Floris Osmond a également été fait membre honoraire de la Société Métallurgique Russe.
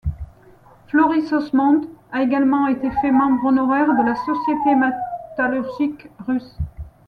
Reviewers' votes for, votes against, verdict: 1, 2, rejected